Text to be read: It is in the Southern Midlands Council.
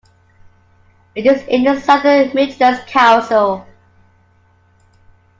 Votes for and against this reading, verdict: 2, 0, accepted